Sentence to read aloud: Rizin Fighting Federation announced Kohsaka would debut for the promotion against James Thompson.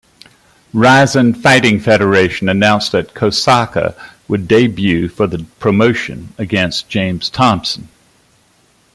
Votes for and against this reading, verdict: 1, 2, rejected